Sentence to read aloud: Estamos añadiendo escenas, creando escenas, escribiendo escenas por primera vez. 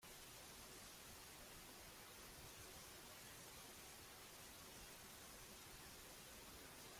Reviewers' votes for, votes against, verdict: 0, 2, rejected